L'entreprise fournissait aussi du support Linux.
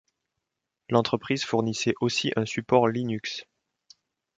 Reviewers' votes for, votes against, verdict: 1, 2, rejected